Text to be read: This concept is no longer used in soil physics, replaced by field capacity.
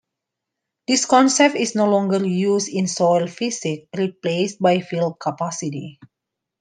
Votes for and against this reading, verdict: 2, 1, accepted